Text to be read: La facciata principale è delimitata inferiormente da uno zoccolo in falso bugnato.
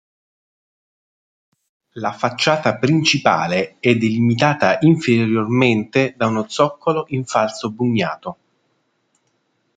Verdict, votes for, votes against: accepted, 3, 2